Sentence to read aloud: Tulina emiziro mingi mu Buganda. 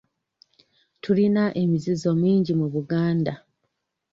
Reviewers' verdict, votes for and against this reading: rejected, 0, 2